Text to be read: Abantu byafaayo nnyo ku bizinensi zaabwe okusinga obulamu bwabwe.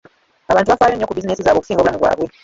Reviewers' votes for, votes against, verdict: 0, 2, rejected